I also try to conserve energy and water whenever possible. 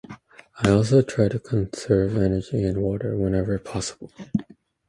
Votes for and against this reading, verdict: 2, 0, accepted